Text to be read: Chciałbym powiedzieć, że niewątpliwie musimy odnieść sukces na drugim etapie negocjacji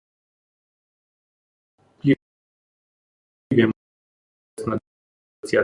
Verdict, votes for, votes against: rejected, 0, 2